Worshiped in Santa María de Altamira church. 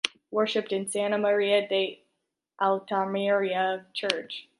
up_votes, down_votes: 1, 2